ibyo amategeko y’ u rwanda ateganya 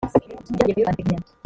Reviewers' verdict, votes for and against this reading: rejected, 1, 2